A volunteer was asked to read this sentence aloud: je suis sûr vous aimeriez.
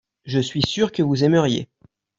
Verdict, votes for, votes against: rejected, 1, 2